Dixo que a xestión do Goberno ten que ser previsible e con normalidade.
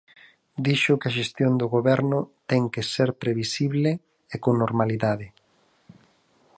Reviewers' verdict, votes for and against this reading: accepted, 4, 0